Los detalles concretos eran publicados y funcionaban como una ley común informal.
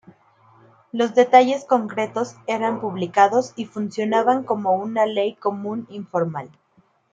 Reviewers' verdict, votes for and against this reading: accepted, 2, 0